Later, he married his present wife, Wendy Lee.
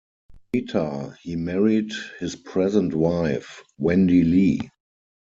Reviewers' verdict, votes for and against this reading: rejected, 2, 4